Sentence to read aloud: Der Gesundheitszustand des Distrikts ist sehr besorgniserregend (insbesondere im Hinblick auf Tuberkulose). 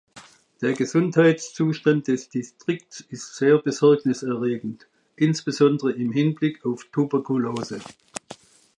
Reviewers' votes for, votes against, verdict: 1, 2, rejected